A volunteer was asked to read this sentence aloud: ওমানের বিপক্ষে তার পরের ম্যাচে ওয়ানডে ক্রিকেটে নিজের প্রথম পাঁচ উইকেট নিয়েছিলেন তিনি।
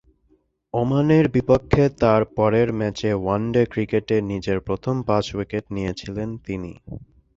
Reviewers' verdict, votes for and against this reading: accepted, 4, 0